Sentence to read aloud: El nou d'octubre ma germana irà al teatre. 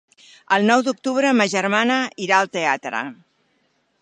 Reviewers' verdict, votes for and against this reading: accepted, 3, 0